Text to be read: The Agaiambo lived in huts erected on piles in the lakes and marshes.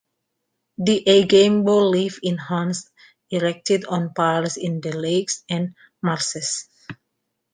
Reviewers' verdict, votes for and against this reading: rejected, 1, 2